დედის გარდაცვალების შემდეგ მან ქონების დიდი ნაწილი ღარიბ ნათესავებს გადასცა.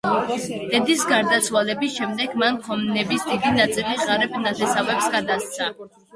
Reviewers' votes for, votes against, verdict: 1, 2, rejected